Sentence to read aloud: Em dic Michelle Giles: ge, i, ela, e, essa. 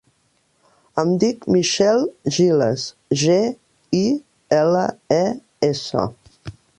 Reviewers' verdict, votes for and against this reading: accepted, 2, 0